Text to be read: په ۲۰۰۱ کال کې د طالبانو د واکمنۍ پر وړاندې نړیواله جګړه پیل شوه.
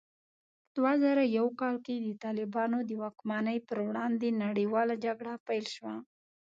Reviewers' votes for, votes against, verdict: 0, 2, rejected